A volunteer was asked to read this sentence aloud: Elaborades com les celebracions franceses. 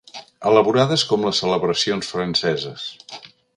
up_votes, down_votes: 4, 0